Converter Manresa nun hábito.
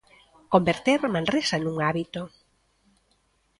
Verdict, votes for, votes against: accepted, 2, 0